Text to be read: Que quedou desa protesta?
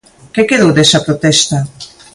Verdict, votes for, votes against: accepted, 2, 0